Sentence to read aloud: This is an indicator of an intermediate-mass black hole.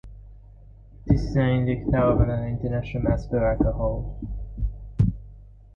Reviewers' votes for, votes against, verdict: 0, 2, rejected